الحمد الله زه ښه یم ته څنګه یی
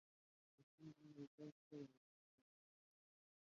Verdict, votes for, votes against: rejected, 0, 3